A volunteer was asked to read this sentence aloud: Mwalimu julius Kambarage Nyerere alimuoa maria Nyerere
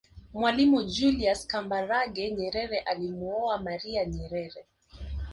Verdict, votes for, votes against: rejected, 0, 2